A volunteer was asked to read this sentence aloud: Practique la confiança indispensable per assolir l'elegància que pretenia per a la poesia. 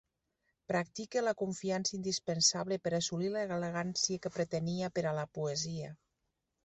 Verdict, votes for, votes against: accepted, 2, 1